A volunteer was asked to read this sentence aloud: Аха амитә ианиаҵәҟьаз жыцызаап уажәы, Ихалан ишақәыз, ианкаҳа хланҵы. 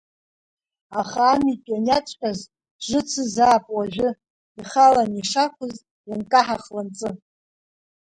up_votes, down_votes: 2, 0